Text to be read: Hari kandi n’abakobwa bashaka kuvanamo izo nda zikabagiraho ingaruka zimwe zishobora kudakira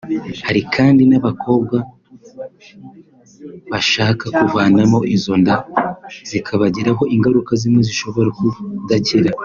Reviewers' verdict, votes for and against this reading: accepted, 2, 0